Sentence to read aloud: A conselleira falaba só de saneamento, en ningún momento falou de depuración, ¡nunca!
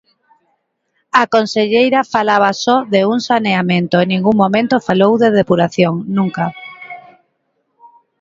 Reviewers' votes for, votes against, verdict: 0, 2, rejected